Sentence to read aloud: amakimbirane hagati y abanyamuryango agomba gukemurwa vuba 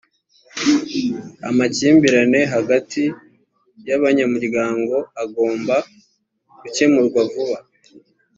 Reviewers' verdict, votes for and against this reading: accepted, 2, 0